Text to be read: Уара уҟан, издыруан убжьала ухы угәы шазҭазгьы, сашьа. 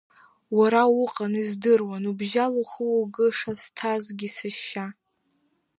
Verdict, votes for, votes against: accepted, 3, 0